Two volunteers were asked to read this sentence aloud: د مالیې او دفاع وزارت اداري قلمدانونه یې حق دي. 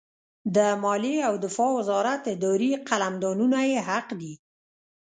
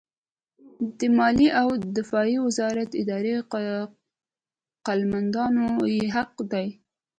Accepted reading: second